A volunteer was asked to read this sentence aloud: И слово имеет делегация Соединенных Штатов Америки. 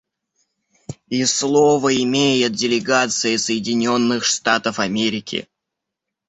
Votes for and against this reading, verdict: 2, 0, accepted